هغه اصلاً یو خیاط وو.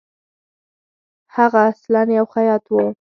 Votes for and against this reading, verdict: 4, 0, accepted